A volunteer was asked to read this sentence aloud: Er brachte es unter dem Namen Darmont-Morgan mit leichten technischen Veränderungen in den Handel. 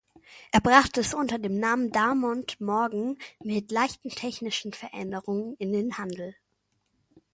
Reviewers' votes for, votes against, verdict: 2, 0, accepted